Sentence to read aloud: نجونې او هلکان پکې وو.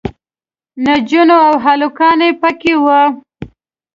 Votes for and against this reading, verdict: 1, 2, rejected